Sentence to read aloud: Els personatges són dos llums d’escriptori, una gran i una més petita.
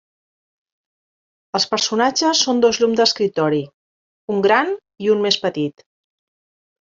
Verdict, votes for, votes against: rejected, 0, 2